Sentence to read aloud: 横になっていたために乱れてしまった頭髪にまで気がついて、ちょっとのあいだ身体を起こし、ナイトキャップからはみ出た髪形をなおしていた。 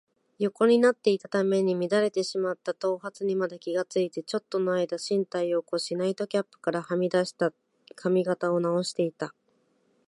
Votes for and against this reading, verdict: 1, 2, rejected